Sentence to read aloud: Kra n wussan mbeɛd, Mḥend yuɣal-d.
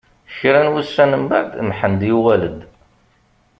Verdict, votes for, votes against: accepted, 2, 0